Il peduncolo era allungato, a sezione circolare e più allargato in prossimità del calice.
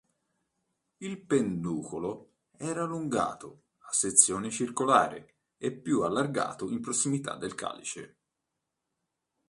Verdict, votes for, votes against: rejected, 0, 2